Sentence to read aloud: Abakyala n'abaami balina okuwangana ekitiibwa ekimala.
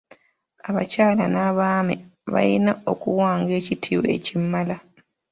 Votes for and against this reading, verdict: 0, 2, rejected